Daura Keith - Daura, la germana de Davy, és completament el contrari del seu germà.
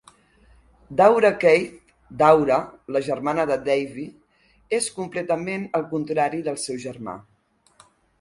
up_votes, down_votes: 3, 0